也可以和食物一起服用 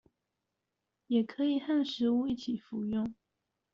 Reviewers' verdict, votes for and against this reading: rejected, 1, 2